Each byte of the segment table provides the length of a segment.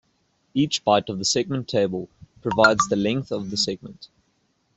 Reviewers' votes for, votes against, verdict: 1, 2, rejected